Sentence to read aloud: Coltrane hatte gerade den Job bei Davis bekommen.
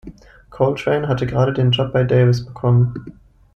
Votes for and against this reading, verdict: 2, 0, accepted